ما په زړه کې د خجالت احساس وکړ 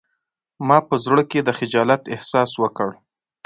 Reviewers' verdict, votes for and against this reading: accepted, 3, 0